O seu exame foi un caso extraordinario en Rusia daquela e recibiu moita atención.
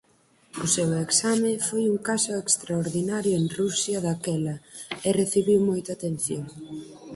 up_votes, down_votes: 4, 0